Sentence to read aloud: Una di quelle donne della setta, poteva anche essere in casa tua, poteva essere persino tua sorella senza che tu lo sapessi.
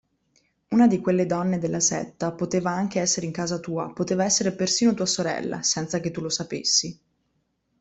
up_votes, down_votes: 2, 0